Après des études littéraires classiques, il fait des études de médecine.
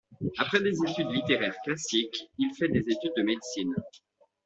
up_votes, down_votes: 2, 0